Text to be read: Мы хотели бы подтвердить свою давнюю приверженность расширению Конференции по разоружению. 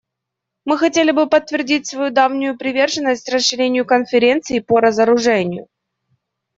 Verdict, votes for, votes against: accepted, 2, 0